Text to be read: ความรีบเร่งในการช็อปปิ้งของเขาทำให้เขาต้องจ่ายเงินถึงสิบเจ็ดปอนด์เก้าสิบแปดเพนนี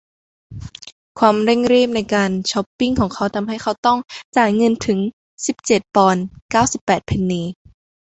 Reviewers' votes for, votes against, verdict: 0, 2, rejected